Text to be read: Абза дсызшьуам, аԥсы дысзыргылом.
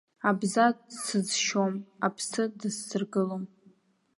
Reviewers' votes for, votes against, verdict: 2, 0, accepted